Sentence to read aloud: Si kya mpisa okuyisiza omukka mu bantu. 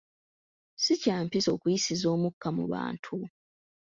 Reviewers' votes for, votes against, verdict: 2, 0, accepted